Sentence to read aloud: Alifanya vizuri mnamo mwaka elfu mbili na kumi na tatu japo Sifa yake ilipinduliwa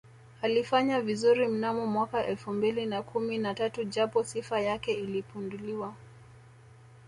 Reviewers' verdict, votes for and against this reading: accepted, 3, 0